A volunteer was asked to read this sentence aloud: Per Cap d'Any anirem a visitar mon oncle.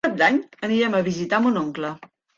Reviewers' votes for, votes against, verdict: 0, 3, rejected